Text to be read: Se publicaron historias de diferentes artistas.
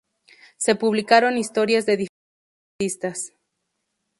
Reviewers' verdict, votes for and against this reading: rejected, 0, 2